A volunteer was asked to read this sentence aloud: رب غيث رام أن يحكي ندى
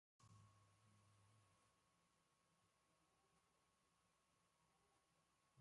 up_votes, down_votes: 0, 2